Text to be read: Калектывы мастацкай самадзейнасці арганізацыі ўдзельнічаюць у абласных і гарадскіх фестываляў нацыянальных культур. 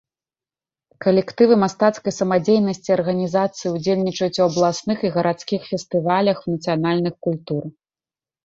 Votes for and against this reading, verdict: 2, 1, accepted